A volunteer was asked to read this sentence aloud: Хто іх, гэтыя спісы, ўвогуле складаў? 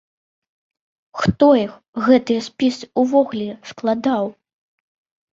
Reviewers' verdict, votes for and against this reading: accepted, 2, 0